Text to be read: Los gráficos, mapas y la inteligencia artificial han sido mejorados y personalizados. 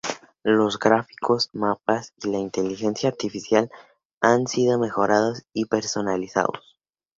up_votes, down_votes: 2, 0